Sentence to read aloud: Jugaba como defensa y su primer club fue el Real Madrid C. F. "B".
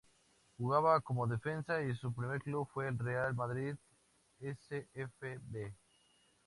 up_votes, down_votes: 2, 0